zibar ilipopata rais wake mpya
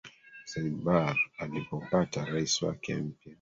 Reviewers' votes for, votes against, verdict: 0, 2, rejected